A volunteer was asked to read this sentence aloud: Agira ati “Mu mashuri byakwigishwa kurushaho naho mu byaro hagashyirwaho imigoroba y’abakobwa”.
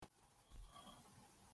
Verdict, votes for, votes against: rejected, 0, 2